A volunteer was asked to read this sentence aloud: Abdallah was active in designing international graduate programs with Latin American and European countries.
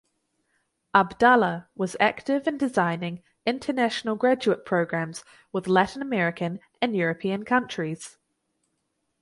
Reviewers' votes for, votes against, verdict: 4, 0, accepted